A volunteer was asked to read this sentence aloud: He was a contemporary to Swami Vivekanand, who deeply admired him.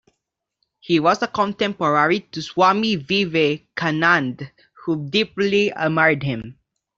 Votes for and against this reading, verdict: 2, 0, accepted